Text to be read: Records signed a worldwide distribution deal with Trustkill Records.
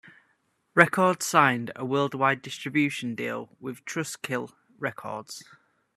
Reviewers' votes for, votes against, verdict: 2, 0, accepted